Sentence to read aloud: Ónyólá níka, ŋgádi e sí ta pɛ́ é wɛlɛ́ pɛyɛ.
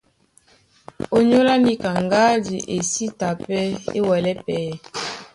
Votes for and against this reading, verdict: 2, 0, accepted